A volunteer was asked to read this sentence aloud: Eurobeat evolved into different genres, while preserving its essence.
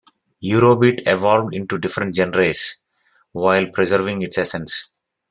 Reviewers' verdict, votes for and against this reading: accepted, 2, 1